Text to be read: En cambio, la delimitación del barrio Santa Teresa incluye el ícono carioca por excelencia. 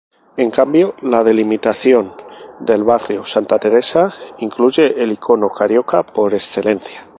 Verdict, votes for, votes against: rejected, 2, 2